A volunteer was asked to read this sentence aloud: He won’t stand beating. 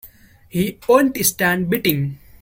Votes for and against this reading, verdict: 0, 2, rejected